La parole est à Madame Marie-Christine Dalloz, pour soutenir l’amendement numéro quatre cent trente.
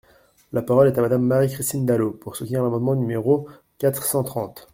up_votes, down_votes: 2, 0